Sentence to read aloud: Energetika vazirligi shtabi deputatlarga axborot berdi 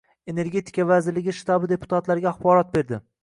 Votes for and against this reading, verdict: 2, 1, accepted